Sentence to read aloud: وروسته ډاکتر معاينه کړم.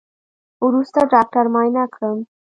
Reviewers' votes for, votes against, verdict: 1, 2, rejected